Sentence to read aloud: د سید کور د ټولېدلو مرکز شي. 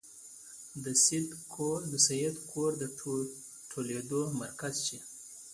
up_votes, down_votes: 2, 0